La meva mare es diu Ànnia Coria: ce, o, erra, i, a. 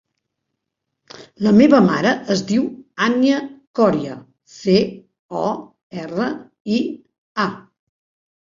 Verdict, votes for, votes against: accepted, 2, 0